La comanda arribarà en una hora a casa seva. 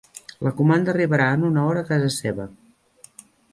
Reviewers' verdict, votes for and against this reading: accepted, 3, 0